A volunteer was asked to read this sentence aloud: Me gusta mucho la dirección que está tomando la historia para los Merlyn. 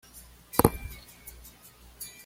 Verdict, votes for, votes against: rejected, 1, 2